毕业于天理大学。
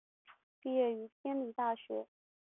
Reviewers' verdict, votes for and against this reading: accepted, 5, 0